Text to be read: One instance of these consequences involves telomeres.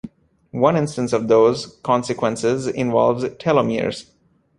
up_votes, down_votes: 1, 2